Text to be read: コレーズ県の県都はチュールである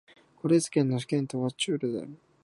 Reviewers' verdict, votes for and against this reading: rejected, 0, 2